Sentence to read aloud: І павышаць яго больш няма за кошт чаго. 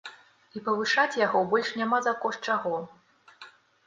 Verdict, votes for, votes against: accepted, 2, 0